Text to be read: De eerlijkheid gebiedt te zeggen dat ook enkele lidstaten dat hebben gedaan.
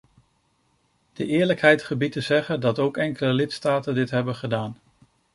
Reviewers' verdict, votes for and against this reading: rejected, 0, 2